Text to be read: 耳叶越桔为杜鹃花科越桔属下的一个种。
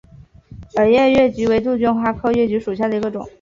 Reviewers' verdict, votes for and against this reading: accepted, 2, 0